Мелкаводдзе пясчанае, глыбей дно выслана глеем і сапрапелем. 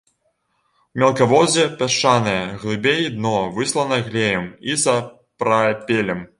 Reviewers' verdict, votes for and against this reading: rejected, 1, 2